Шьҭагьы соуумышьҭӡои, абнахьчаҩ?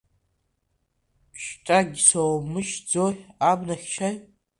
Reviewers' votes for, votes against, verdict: 2, 1, accepted